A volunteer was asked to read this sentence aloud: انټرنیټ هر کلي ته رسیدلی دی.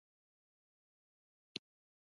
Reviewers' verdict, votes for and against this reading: rejected, 0, 2